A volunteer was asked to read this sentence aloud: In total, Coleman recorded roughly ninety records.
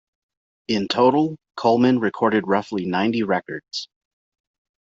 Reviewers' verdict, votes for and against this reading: accepted, 2, 0